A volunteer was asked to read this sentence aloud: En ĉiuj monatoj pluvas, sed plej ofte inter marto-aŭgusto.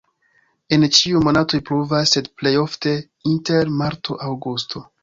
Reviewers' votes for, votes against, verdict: 1, 2, rejected